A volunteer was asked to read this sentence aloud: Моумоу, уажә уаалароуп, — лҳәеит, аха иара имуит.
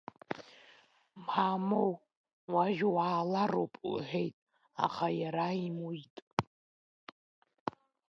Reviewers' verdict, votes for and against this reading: rejected, 1, 2